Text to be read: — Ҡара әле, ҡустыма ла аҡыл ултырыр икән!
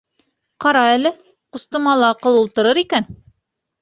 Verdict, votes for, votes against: accepted, 2, 0